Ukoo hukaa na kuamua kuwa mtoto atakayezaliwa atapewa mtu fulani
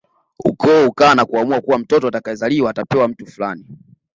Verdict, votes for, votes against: accepted, 2, 0